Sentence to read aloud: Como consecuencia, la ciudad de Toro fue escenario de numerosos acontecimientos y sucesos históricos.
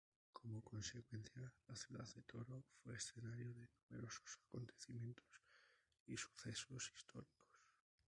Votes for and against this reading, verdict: 0, 2, rejected